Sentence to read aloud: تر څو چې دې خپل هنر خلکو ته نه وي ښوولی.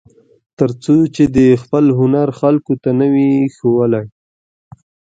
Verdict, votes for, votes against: accepted, 2, 0